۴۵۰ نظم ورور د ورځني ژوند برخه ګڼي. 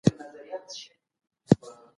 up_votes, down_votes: 0, 2